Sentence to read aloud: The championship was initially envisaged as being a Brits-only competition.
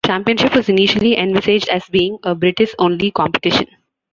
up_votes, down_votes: 1, 2